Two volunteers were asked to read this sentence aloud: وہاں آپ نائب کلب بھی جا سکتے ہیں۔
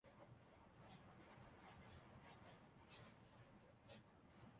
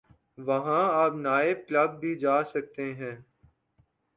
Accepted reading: second